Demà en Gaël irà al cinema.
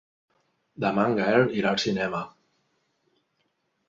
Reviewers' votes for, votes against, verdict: 3, 0, accepted